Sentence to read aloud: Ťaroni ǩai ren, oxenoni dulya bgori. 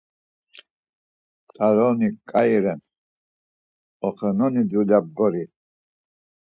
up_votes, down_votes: 4, 0